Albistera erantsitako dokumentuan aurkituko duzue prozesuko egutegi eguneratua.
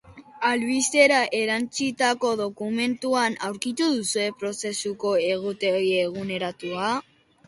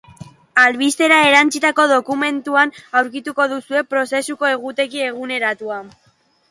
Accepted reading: second